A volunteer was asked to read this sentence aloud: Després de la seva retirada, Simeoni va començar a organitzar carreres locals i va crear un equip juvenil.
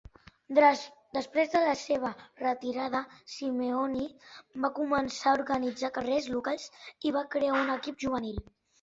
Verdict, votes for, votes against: accepted, 2, 1